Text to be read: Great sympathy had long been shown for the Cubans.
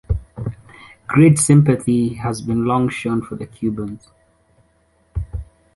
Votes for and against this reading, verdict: 0, 2, rejected